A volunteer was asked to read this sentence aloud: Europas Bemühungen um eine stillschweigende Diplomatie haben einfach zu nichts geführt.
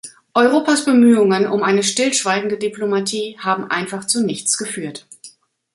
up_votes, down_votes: 3, 0